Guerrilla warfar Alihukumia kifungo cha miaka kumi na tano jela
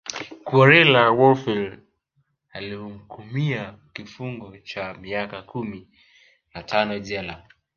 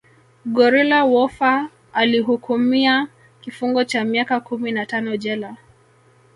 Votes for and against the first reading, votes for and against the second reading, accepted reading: 1, 2, 2, 0, second